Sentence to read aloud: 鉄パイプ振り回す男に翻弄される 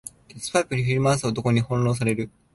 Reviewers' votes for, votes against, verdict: 2, 1, accepted